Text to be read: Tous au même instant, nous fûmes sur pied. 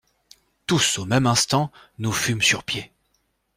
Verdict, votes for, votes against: accepted, 2, 0